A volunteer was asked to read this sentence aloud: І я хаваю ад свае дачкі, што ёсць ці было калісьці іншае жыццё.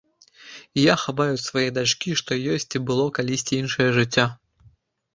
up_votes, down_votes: 0, 2